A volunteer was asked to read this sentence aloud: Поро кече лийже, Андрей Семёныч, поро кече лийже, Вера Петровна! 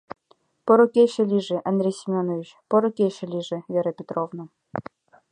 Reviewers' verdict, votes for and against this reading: rejected, 0, 2